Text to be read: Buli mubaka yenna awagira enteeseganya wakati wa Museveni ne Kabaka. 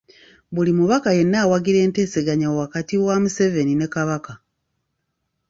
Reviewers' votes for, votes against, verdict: 2, 0, accepted